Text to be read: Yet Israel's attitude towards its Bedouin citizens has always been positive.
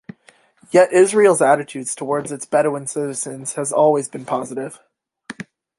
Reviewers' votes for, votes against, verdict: 2, 0, accepted